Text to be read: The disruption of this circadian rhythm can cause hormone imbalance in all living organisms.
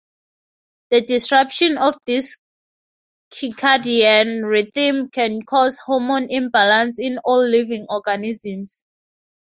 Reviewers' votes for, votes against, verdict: 2, 0, accepted